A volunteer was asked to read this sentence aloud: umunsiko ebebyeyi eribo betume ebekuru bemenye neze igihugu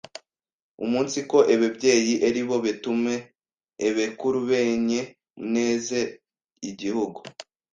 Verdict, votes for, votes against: rejected, 1, 2